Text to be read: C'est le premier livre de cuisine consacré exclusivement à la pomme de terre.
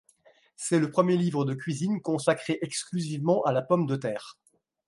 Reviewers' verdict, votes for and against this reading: accepted, 2, 0